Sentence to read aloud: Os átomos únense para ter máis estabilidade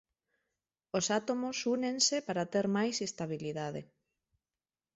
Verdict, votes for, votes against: accepted, 2, 0